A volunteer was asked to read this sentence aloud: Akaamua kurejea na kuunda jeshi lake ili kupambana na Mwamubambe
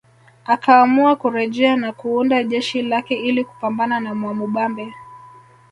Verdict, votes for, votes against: accepted, 2, 0